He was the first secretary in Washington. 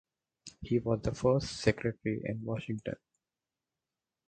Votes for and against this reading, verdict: 4, 0, accepted